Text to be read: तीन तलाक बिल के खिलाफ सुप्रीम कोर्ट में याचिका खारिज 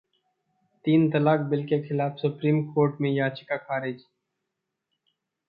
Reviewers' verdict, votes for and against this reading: accepted, 2, 0